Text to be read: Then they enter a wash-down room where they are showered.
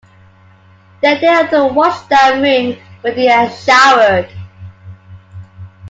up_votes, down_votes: 2, 1